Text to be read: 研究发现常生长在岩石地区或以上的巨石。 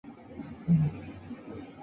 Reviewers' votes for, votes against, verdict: 2, 3, rejected